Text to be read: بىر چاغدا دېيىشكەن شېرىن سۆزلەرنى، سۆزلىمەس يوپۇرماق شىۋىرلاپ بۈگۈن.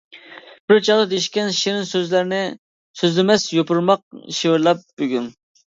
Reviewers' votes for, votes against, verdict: 2, 0, accepted